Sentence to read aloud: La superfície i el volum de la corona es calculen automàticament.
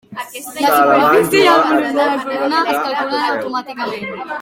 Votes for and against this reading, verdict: 0, 2, rejected